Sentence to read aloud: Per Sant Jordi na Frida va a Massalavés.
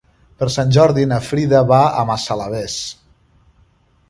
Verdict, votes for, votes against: accepted, 3, 0